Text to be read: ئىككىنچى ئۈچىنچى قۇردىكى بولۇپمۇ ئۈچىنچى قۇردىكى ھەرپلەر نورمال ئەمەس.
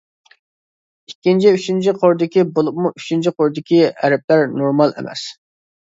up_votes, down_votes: 2, 0